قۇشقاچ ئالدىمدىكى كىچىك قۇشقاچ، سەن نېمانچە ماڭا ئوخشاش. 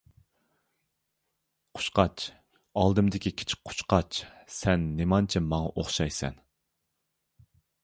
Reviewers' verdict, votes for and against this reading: rejected, 1, 2